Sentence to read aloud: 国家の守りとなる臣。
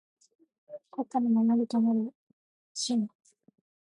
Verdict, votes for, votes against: rejected, 0, 2